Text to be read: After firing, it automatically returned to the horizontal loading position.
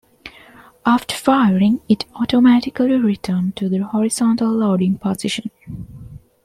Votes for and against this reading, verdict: 3, 1, accepted